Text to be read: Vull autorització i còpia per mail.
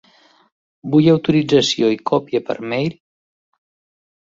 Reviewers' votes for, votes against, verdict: 3, 0, accepted